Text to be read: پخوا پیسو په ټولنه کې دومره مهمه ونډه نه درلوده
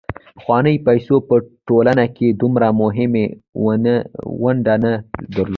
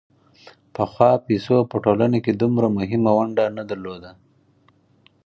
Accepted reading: second